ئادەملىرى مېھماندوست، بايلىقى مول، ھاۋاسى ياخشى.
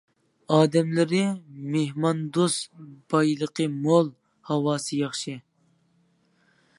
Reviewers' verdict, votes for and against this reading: accepted, 2, 0